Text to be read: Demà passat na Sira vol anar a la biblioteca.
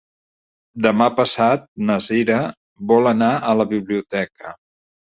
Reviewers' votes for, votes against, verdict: 2, 0, accepted